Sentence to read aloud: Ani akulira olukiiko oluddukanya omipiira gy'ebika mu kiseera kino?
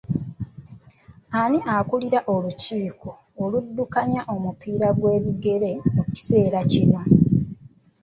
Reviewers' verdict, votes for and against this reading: rejected, 1, 2